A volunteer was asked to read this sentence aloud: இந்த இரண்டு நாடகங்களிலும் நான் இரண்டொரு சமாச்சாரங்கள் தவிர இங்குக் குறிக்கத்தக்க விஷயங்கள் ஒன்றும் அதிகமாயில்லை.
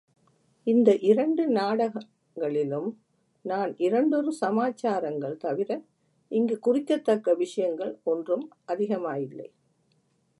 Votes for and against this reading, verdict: 2, 1, accepted